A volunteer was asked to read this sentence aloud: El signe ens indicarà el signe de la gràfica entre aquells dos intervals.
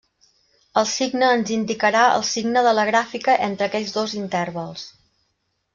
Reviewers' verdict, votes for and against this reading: rejected, 0, 2